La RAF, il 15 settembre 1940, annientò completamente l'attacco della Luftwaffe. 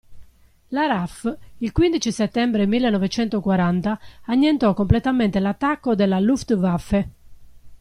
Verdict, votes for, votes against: rejected, 0, 2